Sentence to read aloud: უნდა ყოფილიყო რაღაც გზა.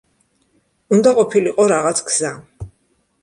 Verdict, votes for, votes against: accepted, 2, 1